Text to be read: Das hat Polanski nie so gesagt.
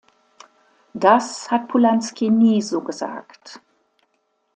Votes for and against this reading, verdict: 2, 0, accepted